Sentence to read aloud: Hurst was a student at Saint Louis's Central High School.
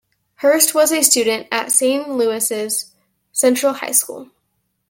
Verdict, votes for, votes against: rejected, 1, 2